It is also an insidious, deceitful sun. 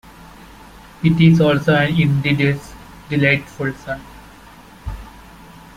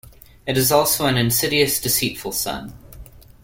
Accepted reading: second